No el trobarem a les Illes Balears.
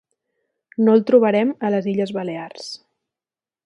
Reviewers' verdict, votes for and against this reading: accepted, 2, 0